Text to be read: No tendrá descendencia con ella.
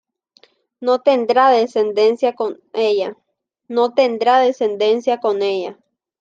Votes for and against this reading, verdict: 0, 2, rejected